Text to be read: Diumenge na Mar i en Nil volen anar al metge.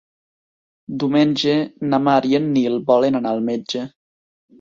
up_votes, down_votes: 3, 1